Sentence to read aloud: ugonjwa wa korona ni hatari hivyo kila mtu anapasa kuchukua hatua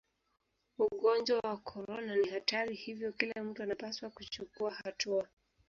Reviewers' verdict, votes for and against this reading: rejected, 1, 2